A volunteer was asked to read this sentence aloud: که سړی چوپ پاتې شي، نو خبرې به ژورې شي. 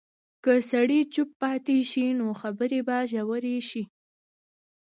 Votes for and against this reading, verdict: 2, 1, accepted